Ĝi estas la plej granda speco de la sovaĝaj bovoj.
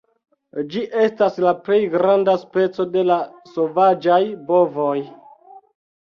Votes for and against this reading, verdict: 2, 0, accepted